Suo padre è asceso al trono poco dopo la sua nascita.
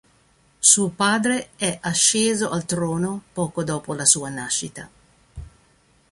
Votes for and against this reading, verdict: 2, 0, accepted